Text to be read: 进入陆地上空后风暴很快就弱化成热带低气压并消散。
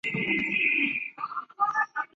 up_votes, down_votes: 0, 2